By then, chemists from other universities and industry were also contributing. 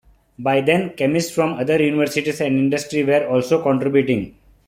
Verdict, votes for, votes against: accepted, 2, 0